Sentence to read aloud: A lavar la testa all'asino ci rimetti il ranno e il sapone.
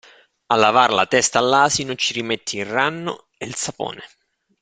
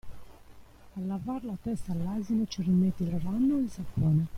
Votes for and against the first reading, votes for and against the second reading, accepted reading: 2, 0, 0, 2, first